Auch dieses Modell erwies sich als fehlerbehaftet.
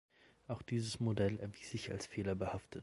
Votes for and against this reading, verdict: 2, 0, accepted